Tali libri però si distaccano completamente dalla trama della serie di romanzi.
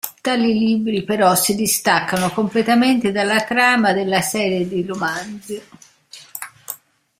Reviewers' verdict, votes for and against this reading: accepted, 2, 0